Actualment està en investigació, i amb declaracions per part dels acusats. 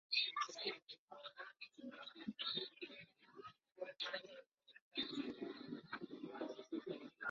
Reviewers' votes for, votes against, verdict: 0, 2, rejected